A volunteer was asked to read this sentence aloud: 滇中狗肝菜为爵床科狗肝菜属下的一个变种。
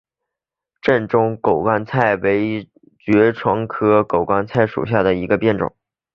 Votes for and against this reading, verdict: 2, 1, accepted